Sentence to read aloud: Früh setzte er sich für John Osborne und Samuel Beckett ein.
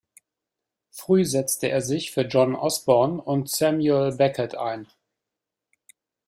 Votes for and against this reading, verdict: 2, 0, accepted